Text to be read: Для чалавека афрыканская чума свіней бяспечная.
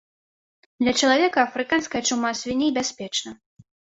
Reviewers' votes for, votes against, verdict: 1, 2, rejected